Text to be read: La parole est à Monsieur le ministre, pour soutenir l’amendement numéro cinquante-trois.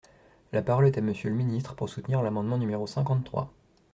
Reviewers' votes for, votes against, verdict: 2, 0, accepted